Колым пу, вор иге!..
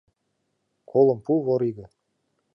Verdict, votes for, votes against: accepted, 2, 0